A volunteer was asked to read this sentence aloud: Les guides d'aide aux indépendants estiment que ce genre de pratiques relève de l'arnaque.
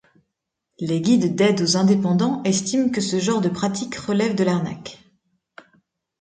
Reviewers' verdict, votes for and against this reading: accepted, 2, 0